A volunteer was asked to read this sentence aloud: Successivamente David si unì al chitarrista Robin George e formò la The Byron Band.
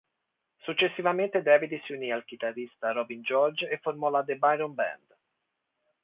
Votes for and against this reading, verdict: 2, 0, accepted